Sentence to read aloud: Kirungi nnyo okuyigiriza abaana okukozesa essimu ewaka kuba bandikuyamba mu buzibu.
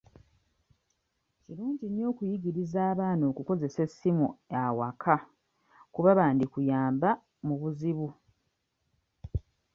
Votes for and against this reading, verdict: 0, 2, rejected